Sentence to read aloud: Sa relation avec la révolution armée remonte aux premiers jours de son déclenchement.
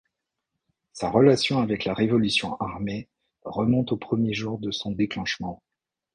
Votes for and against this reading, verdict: 2, 0, accepted